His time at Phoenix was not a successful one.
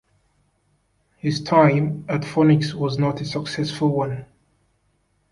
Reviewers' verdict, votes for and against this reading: rejected, 1, 2